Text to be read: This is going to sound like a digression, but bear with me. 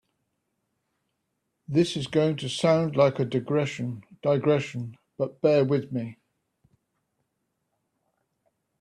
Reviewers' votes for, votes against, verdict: 1, 3, rejected